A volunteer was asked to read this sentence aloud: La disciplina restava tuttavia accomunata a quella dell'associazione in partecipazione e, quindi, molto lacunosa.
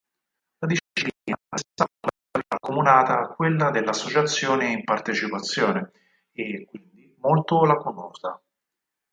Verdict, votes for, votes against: rejected, 0, 4